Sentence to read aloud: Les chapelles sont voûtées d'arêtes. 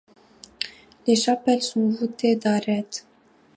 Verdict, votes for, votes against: accepted, 2, 1